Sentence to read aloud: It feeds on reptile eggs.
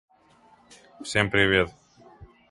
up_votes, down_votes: 0, 2